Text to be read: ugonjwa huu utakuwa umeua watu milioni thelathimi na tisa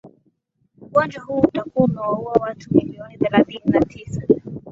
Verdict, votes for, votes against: accepted, 3, 0